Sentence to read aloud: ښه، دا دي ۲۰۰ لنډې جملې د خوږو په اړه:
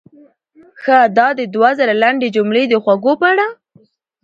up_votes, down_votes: 0, 2